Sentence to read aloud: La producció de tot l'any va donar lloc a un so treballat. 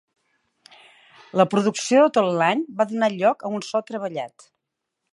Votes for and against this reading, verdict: 0, 2, rejected